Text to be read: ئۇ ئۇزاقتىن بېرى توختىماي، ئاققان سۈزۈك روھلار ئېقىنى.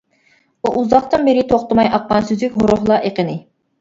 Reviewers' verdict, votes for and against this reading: rejected, 1, 2